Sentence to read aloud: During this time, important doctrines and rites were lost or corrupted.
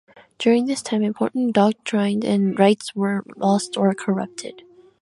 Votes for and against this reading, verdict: 1, 2, rejected